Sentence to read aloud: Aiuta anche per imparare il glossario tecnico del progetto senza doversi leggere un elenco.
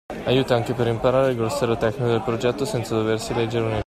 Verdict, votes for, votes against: rejected, 0, 2